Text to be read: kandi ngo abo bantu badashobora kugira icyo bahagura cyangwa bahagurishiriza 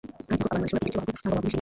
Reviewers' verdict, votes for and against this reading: rejected, 0, 2